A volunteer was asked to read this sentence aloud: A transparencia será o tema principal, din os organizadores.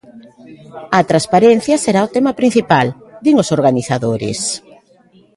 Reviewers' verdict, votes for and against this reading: accepted, 2, 0